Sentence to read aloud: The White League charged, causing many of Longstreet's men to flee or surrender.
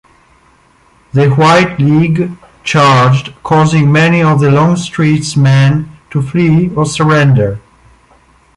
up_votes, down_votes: 2, 0